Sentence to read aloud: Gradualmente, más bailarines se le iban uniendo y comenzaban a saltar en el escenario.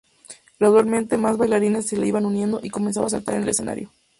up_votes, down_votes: 2, 0